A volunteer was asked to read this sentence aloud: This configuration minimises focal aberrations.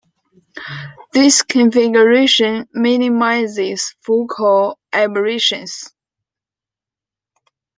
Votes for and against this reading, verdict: 2, 0, accepted